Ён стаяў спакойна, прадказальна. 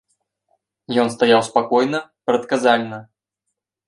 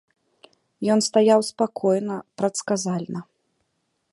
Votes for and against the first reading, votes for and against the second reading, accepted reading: 3, 0, 0, 2, first